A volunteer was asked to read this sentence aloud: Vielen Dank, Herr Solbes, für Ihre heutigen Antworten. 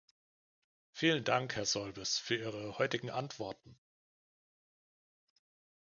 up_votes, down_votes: 2, 0